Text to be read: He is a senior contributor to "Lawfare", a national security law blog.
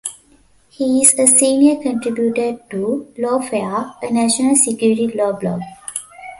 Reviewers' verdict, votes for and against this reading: rejected, 1, 2